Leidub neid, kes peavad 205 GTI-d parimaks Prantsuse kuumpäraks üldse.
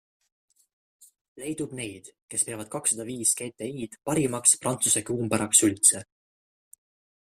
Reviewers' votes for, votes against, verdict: 0, 2, rejected